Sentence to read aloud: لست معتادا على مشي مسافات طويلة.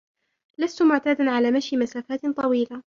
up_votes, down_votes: 1, 2